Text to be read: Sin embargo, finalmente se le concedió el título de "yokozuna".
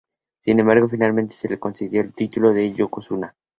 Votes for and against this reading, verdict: 2, 0, accepted